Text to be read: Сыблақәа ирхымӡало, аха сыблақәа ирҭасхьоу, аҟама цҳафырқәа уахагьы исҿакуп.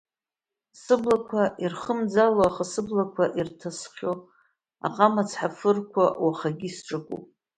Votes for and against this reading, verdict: 2, 1, accepted